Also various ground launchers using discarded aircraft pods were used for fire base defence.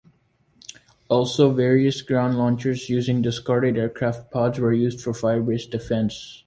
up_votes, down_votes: 2, 0